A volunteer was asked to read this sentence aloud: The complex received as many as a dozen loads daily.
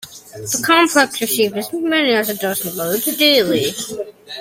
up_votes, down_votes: 0, 2